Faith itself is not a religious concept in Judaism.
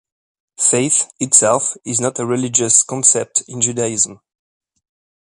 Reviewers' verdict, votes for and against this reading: accepted, 2, 0